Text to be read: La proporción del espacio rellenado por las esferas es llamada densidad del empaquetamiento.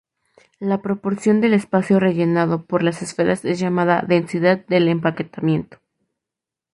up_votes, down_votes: 2, 0